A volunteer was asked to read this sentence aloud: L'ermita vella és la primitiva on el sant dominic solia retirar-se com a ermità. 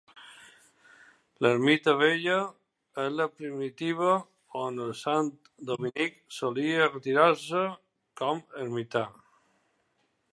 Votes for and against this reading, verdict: 2, 0, accepted